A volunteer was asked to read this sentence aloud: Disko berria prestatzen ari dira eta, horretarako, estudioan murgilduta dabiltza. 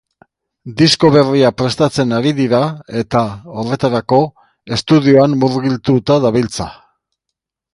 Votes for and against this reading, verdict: 1, 2, rejected